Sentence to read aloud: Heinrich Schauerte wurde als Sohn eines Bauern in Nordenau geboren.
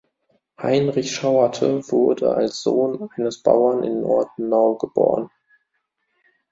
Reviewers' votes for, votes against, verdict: 1, 2, rejected